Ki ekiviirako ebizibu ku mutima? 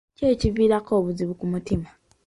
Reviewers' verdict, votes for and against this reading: accepted, 2, 1